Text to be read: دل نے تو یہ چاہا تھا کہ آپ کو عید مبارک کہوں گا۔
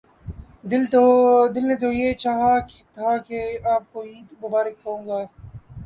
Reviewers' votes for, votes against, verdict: 2, 4, rejected